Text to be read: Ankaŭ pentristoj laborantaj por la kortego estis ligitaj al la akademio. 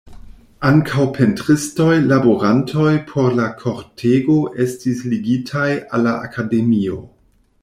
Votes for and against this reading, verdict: 0, 2, rejected